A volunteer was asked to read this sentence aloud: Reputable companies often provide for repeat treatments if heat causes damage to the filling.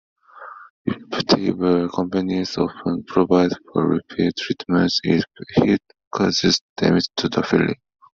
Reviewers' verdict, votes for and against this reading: accepted, 2, 1